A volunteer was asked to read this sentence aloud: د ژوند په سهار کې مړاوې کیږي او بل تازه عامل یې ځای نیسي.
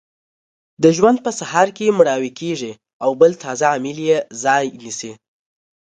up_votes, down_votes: 1, 2